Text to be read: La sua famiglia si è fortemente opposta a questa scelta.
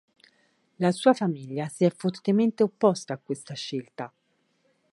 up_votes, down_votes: 4, 0